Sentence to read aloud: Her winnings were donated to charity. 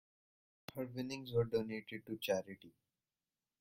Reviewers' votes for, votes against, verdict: 1, 2, rejected